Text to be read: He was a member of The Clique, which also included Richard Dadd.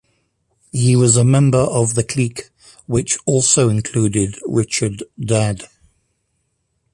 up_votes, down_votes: 2, 0